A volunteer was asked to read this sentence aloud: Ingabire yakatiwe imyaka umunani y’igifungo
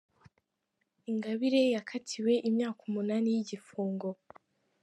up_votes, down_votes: 2, 1